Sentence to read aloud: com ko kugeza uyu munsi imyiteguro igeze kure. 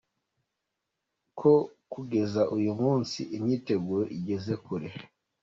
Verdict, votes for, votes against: rejected, 0, 2